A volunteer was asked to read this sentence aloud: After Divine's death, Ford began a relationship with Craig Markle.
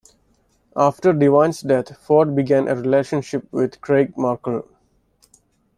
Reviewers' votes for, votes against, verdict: 2, 0, accepted